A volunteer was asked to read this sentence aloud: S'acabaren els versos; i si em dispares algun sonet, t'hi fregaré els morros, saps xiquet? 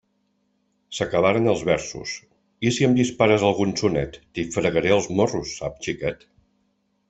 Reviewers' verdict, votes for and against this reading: accepted, 2, 0